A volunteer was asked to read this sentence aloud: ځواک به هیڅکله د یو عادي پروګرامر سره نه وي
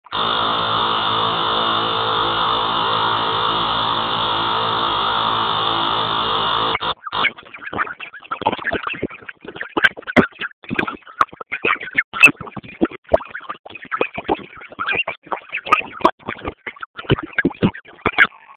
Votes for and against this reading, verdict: 0, 2, rejected